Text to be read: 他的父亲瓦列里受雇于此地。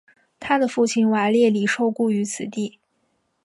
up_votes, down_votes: 2, 1